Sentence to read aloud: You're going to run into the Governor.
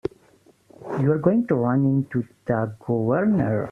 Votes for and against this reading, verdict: 0, 2, rejected